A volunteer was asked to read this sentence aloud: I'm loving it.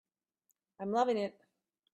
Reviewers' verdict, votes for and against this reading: accepted, 2, 0